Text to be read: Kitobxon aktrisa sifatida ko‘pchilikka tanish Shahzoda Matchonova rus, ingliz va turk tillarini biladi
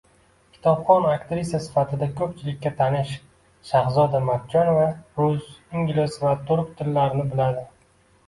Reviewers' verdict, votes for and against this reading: accepted, 2, 1